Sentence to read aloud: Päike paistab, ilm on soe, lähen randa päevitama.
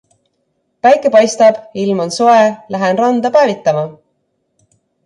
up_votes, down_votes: 2, 0